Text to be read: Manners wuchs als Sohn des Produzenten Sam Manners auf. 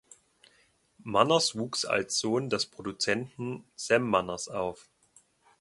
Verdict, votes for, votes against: accepted, 2, 0